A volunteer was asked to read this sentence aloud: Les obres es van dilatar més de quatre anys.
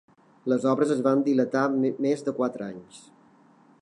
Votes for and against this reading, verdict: 3, 1, accepted